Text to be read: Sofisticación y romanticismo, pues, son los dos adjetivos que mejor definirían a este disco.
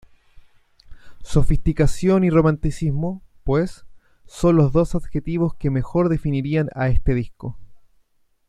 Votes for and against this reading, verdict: 2, 0, accepted